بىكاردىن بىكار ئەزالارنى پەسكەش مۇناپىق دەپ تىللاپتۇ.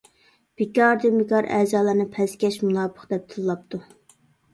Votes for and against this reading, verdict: 2, 0, accepted